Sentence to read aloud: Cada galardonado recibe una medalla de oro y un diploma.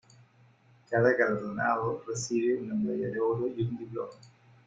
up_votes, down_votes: 1, 2